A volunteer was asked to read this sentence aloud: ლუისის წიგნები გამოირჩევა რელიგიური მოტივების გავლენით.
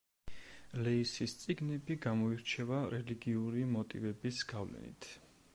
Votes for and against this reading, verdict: 0, 2, rejected